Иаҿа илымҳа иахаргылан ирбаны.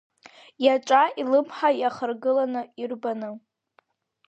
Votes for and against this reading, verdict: 0, 3, rejected